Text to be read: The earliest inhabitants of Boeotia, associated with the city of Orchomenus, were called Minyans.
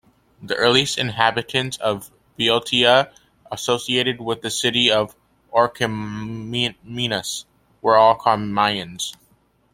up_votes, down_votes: 0, 2